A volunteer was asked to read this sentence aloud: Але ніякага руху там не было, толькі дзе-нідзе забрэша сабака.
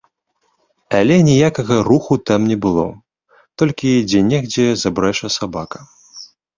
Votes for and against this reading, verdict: 1, 2, rejected